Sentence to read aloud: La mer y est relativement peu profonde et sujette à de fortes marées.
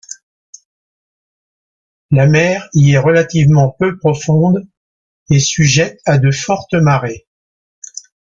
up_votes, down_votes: 2, 0